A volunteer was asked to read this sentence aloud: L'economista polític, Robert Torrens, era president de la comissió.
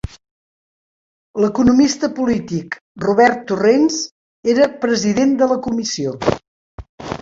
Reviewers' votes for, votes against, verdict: 0, 2, rejected